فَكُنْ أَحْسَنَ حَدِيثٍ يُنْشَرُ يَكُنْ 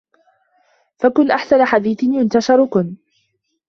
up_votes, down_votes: 0, 2